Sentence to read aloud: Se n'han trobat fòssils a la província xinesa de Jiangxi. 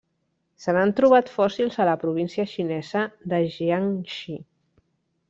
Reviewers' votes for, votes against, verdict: 1, 2, rejected